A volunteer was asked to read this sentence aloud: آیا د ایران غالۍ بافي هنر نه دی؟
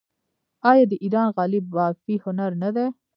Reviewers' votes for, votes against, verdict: 1, 2, rejected